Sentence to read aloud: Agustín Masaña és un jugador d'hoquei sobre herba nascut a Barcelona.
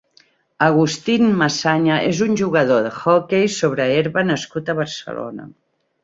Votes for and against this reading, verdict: 0, 2, rejected